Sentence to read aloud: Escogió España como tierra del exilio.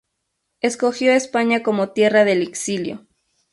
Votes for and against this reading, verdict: 0, 2, rejected